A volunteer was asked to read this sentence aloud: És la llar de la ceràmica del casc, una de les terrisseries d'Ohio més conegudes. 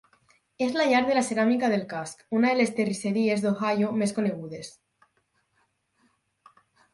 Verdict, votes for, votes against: accepted, 6, 2